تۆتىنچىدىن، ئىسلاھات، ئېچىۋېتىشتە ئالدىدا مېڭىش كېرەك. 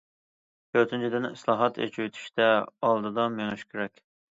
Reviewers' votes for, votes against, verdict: 2, 0, accepted